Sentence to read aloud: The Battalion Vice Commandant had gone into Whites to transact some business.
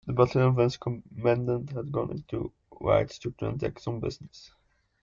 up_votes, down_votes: 2, 0